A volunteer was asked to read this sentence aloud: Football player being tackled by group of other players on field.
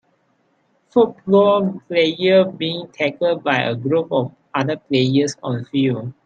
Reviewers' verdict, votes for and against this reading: rejected, 2, 4